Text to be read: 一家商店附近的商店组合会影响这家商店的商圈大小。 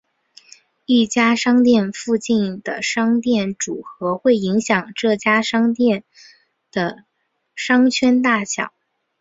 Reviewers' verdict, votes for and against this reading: rejected, 2, 2